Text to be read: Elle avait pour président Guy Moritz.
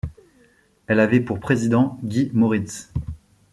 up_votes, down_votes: 2, 0